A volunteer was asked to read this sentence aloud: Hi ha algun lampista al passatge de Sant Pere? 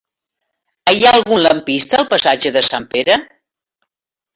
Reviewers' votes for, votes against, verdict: 0, 2, rejected